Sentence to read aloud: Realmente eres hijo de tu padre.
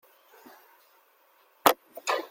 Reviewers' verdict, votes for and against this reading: rejected, 0, 2